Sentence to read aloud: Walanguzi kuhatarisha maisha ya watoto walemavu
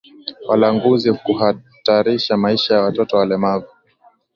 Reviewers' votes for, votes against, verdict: 2, 0, accepted